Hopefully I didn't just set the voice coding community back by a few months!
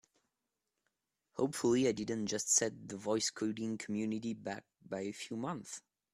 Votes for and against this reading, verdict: 2, 0, accepted